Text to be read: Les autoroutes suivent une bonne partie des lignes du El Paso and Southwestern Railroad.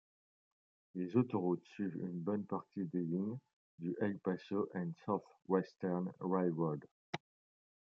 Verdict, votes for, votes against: rejected, 1, 2